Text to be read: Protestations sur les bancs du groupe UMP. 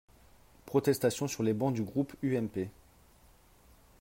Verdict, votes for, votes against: accepted, 3, 0